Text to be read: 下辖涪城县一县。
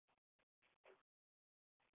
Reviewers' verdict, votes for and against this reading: rejected, 0, 2